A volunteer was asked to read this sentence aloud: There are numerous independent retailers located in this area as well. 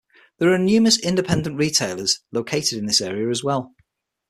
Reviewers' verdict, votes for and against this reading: accepted, 6, 0